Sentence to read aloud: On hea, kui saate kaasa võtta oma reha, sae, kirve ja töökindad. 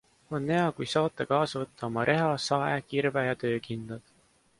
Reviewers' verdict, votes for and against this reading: rejected, 1, 2